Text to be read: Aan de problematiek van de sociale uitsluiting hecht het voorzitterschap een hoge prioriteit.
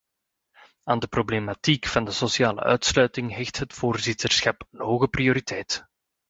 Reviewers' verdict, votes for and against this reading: accepted, 2, 0